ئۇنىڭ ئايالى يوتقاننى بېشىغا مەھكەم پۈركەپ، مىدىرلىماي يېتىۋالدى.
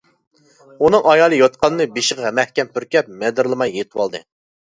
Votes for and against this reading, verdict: 0, 2, rejected